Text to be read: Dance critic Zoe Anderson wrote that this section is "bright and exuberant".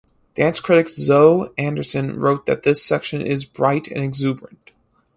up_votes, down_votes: 4, 0